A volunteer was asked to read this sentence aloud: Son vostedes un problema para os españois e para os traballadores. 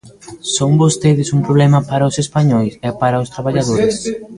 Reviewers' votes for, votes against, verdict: 1, 3, rejected